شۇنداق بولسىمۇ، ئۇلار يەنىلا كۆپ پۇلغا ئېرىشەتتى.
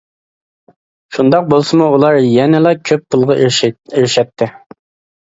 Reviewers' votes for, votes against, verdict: 0, 2, rejected